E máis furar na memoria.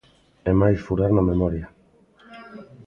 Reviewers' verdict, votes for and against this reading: accepted, 2, 0